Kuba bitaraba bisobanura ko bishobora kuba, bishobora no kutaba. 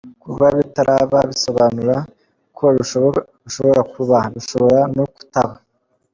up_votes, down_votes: 2, 1